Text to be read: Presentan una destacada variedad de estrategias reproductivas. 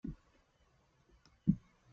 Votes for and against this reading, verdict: 0, 2, rejected